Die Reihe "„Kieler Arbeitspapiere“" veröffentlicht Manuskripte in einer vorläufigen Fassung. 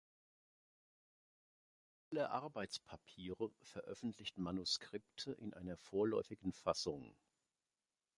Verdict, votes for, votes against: rejected, 0, 2